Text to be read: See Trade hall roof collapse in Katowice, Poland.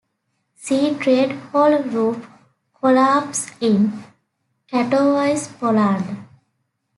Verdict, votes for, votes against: accepted, 2, 0